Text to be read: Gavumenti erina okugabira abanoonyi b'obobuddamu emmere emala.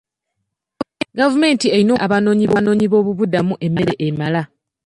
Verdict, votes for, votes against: rejected, 0, 2